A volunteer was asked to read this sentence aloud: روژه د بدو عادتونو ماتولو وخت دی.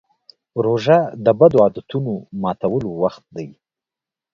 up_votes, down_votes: 2, 0